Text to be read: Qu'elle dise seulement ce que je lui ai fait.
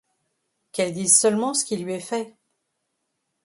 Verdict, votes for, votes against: rejected, 0, 2